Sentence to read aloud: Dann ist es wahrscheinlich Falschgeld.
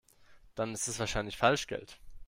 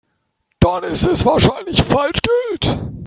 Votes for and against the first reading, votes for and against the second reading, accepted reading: 2, 0, 1, 3, first